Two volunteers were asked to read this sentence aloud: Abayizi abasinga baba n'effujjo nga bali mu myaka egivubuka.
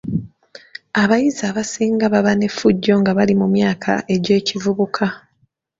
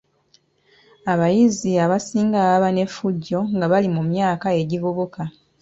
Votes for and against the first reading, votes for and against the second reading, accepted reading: 1, 2, 2, 0, second